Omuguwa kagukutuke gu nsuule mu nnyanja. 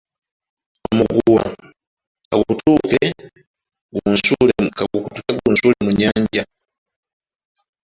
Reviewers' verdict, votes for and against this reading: rejected, 0, 2